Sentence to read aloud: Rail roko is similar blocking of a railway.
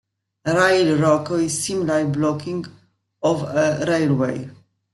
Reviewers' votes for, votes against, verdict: 2, 0, accepted